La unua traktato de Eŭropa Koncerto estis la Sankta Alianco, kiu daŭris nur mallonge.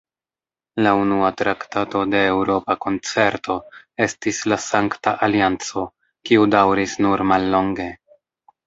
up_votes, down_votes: 1, 2